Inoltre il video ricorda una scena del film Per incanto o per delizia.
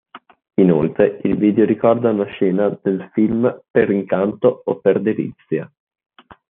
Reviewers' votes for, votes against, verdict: 2, 0, accepted